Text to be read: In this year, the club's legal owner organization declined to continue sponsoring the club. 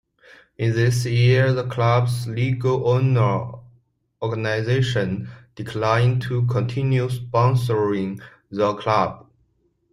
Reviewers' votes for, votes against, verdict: 2, 1, accepted